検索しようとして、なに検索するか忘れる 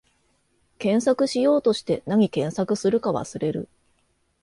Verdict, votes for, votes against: accepted, 2, 0